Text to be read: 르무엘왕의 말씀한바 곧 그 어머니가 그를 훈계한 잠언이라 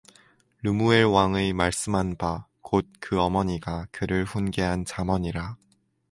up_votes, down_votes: 4, 0